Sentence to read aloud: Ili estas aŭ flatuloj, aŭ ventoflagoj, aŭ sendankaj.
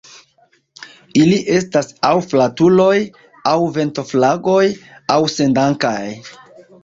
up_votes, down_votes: 2, 0